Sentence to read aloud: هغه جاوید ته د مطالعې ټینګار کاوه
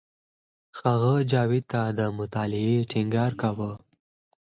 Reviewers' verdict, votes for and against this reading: rejected, 2, 4